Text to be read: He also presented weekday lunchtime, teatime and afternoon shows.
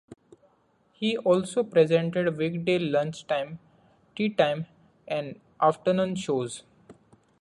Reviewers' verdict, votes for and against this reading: accepted, 2, 0